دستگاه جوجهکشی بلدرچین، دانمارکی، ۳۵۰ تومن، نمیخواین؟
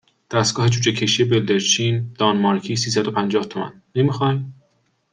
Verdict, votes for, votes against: rejected, 0, 2